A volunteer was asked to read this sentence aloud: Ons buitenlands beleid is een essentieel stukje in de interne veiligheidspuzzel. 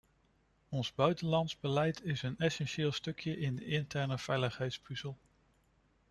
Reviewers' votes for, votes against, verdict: 2, 0, accepted